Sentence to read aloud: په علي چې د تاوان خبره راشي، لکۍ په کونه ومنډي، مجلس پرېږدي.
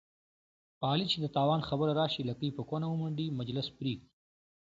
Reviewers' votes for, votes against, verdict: 2, 1, accepted